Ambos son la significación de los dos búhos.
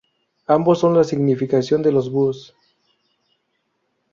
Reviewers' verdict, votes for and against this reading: rejected, 0, 2